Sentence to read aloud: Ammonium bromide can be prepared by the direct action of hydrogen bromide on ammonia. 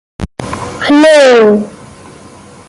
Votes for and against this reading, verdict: 0, 2, rejected